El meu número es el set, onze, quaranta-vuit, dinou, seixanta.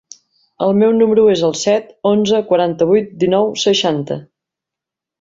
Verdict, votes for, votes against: accepted, 4, 0